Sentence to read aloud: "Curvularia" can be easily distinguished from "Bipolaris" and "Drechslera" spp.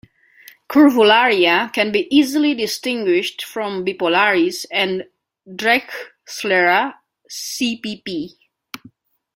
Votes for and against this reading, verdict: 1, 2, rejected